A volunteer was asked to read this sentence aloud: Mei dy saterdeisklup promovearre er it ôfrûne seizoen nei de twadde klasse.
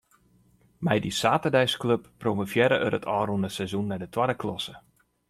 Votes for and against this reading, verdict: 2, 0, accepted